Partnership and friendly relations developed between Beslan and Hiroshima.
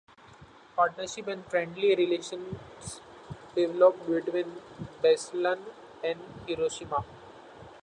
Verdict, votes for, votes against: accepted, 2, 0